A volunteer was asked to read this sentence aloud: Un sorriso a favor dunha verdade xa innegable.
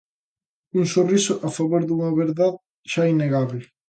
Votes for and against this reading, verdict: 0, 3, rejected